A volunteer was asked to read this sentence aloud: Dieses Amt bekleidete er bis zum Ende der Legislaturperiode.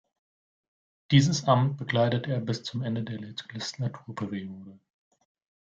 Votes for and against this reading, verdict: 0, 2, rejected